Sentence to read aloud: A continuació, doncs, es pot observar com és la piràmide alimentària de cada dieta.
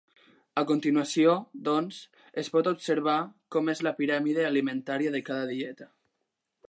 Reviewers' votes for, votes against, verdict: 3, 0, accepted